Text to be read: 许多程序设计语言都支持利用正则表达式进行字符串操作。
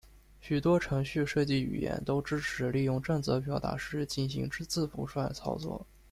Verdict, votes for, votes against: rejected, 1, 2